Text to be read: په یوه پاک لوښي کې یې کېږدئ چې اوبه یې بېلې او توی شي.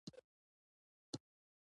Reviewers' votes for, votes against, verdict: 0, 2, rejected